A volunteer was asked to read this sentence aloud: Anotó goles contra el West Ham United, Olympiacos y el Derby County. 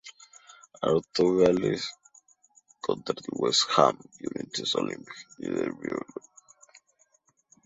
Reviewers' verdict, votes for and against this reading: rejected, 0, 2